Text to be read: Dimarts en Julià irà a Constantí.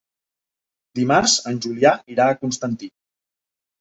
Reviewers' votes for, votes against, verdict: 3, 0, accepted